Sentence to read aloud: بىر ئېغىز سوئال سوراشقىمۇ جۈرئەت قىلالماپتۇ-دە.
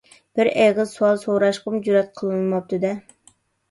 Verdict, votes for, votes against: rejected, 1, 2